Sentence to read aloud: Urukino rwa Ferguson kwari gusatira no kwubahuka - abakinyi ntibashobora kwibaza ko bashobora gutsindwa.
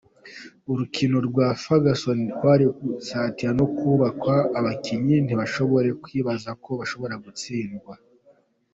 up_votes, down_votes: 0, 2